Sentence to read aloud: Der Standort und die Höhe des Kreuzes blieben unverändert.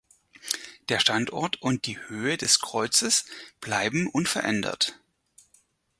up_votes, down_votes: 0, 4